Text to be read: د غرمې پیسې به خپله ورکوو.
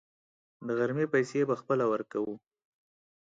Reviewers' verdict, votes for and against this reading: accepted, 4, 0